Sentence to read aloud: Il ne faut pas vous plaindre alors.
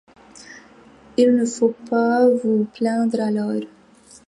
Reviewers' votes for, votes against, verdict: 2, 0, accepted